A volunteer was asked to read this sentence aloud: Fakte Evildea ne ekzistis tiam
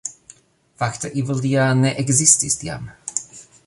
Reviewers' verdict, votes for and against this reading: accepted, 2, 0